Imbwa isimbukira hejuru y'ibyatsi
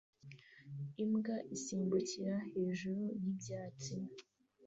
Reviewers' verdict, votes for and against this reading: accepted, 2, 0